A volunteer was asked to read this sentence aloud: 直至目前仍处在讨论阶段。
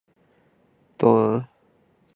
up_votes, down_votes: 0, 4